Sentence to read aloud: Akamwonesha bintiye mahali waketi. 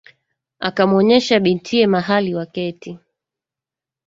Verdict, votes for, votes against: accepted, 2, 0